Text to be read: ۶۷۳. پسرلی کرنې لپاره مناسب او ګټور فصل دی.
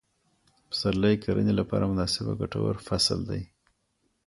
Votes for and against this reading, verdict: 0, 2, rejected